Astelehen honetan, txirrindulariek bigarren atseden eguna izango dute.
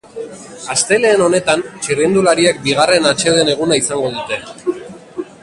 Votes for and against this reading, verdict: 1, 3, rejected